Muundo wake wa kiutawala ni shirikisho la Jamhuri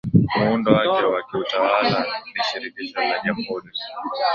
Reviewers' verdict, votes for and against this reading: rejected, 0, 2